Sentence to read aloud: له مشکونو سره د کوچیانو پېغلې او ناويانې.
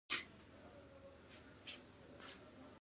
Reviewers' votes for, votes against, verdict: 1, 2, rejected